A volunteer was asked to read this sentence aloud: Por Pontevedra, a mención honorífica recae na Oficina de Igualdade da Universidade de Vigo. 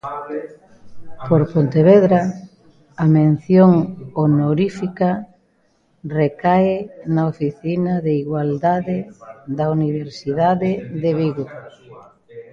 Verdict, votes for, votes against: accepted, 2, 1